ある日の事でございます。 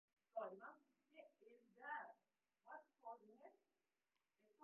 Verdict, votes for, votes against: rejected, 0, 2